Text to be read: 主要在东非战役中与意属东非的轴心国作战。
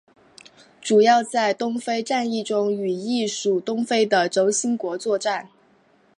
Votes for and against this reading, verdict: 2, 0, accepted